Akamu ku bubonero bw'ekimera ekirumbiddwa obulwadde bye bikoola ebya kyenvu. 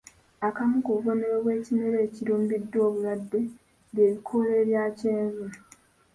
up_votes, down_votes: 2, 1